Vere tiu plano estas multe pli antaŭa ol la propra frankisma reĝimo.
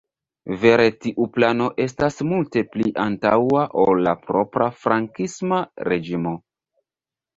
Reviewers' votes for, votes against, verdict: 1, 2, rejected